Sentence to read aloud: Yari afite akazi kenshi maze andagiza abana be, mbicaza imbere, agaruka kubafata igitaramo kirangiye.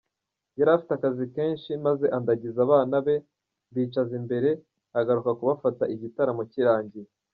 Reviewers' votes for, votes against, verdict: 2, 1, accepted